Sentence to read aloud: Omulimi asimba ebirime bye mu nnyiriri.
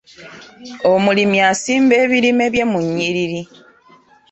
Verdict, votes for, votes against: accepted, 2, 0